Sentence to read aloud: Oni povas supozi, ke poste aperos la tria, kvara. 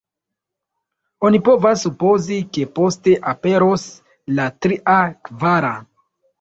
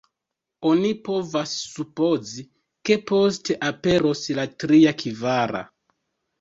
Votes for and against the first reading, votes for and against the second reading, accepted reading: 2, 1, 1, 2, first